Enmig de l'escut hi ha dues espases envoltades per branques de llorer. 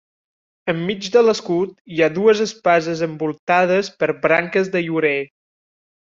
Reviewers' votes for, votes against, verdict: 3, 0, accepted